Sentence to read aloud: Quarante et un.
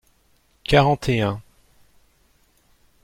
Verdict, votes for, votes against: accepted, 2, 0